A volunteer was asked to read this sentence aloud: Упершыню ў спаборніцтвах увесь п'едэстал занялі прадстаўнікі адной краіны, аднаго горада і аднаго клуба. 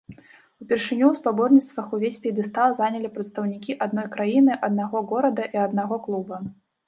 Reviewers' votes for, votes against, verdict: 0, 2, rejected